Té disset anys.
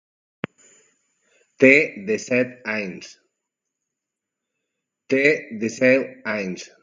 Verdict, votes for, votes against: rejected, 0, 2